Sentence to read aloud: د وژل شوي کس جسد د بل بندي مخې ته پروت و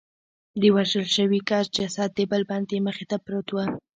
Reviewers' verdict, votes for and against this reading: rejected, 1, 2